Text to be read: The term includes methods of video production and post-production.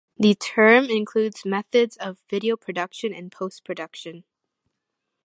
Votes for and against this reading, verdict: 2, 0, accepted